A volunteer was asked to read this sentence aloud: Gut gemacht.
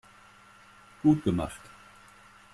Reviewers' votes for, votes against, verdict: 2, 0, accepted